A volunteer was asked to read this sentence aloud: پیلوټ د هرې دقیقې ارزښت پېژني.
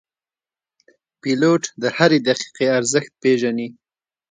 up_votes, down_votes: 2, 0